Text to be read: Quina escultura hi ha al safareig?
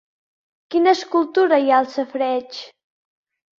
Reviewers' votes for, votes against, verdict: 4, 0, accepted